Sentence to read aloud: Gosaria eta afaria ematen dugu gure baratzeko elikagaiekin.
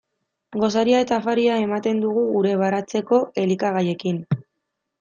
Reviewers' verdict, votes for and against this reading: accepted, 2, 0